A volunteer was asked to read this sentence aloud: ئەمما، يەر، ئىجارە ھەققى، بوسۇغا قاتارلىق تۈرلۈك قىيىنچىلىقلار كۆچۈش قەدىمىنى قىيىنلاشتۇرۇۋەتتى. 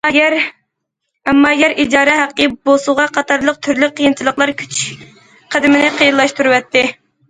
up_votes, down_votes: 0, 2